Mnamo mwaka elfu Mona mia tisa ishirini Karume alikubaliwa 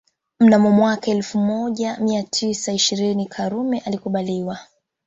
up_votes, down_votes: 2, 3